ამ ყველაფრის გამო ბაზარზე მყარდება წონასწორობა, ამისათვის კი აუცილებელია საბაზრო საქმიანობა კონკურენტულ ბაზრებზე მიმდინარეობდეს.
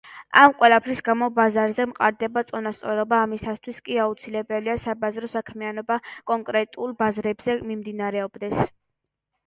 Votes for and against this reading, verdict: 1, 2, rejected